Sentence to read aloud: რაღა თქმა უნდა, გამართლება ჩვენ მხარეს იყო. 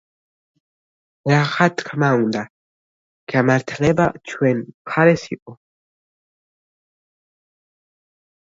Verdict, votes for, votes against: rejected, 0, 2